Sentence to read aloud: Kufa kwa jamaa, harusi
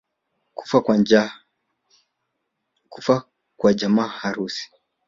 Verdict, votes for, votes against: rejected, 2, 3